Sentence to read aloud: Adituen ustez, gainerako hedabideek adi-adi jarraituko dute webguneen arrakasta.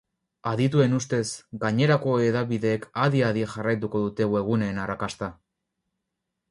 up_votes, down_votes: 8, 0